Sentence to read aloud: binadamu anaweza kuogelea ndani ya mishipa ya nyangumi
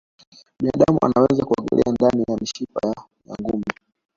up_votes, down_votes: 1, 2